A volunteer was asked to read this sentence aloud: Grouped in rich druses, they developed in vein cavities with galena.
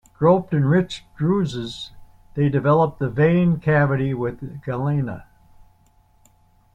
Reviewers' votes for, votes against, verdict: 1, 2, rejected